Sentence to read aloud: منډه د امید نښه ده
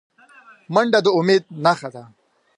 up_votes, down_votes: 2, 0